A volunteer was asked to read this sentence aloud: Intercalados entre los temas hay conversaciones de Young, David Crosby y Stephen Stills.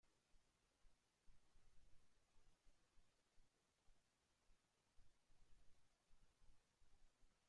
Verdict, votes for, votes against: rejected, 0, 3